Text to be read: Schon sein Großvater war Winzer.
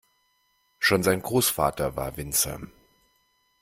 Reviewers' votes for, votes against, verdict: 2, 0, accepted